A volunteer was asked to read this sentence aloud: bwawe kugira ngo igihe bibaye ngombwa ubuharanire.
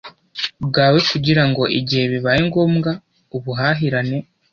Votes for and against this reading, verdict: 1, 2, rejected